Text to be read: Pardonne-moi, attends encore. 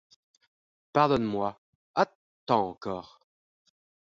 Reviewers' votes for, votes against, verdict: 0, 2, rejected